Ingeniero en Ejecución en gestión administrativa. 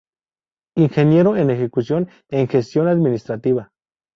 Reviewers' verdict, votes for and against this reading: accepted, 2, 0